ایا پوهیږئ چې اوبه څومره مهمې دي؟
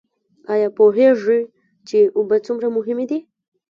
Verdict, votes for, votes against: rejected, 0, 2